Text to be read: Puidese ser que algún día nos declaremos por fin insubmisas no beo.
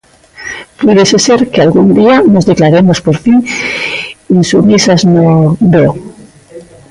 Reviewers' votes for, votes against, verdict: 0, 2, rejected